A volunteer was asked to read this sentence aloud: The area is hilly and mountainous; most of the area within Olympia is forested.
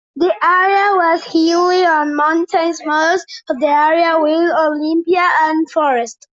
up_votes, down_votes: 0, 2